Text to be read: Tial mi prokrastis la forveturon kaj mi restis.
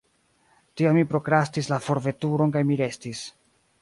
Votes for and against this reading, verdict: 2, 1, accepted